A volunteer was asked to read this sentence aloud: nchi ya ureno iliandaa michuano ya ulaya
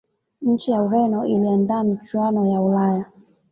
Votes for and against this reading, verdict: 2, 0, accepted